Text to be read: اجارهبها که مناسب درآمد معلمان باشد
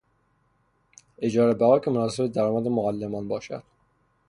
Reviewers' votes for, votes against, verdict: 0, 3, rejected